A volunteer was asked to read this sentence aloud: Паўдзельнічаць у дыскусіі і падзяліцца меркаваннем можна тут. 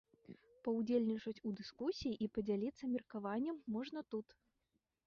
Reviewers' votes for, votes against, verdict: 1, 2, rejected